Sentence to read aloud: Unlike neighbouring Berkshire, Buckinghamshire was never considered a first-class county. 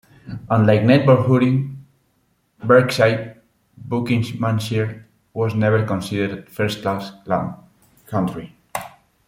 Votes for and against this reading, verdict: 1, 2, rejected